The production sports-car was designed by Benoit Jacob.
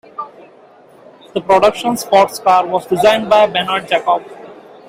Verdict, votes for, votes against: rejected, 1, 2